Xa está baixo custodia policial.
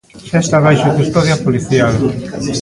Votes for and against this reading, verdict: 1, 2, rejected